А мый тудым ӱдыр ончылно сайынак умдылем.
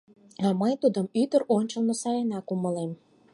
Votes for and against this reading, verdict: 2, 4, rejected